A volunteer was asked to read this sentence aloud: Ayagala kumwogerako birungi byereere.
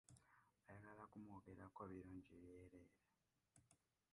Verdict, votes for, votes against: rejected, 0, 2